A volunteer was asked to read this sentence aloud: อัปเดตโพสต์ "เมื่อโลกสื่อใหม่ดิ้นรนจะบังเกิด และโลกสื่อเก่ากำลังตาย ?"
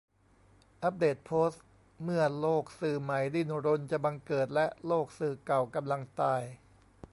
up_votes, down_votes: 1, 2